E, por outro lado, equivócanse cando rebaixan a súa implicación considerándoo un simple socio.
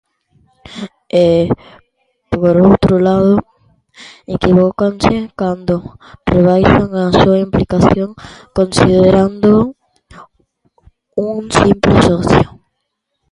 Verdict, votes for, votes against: accepted, 2, 0